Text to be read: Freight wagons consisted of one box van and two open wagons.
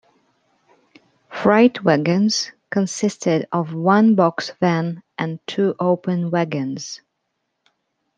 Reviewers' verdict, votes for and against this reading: accepted, 2, 0